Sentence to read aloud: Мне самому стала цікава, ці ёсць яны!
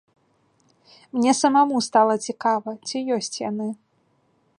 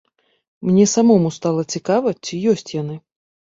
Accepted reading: second